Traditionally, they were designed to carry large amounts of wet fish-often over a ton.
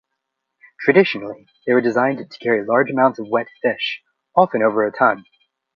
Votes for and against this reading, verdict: 1, 2, rejected